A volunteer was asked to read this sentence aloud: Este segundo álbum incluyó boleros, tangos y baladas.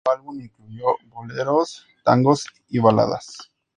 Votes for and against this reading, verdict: 0, 2, rejected